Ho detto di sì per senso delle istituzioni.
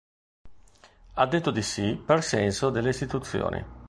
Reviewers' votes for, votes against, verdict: 0, 2, rejected